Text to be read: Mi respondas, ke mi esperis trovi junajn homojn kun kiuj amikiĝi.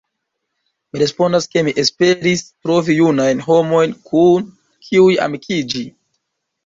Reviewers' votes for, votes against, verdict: 1, 2, rejected